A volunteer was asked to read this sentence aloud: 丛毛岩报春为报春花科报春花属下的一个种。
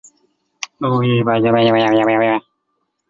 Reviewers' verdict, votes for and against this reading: rejected, 0, 2